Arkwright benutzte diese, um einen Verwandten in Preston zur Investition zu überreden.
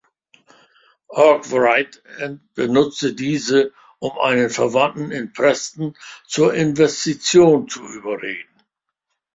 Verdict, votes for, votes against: accepted, 2, 0